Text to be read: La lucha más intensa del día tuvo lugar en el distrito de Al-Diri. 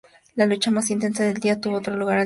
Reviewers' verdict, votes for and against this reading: rejected, 0, 2